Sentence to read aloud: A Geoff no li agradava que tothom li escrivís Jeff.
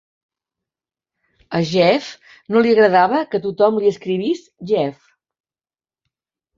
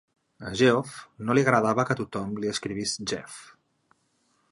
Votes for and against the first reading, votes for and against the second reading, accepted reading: 0, 2, 3, 0, second